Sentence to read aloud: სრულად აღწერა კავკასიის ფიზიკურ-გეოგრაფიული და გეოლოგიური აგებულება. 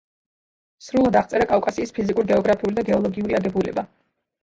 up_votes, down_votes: 0, 2